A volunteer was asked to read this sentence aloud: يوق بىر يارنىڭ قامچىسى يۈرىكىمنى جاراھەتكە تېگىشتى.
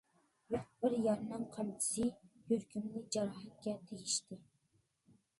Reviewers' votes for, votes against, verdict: 0, 2, rejected